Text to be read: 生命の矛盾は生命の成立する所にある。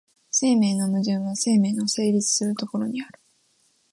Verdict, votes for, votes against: accepted, 2, 0